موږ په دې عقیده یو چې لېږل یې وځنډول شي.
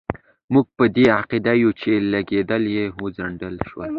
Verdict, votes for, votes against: accepted, 2, 0